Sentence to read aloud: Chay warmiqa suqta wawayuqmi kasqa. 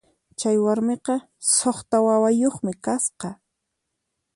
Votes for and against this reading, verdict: 4, 0, accepted